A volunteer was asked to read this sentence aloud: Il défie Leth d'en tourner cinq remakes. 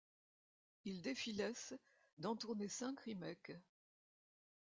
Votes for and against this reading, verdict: 0, 2, rejected